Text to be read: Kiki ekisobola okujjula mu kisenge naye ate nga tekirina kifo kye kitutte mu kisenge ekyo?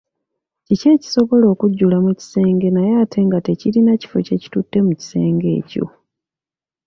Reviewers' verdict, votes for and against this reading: accepted, 2, 0